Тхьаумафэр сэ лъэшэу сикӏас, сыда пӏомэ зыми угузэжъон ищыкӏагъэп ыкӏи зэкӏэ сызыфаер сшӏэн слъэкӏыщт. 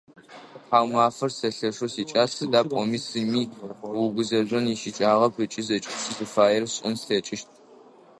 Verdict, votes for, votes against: rejected, 0, 2